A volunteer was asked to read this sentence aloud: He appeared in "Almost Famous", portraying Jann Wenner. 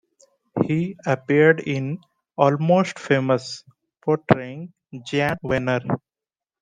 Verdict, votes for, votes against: accepted, 2, 0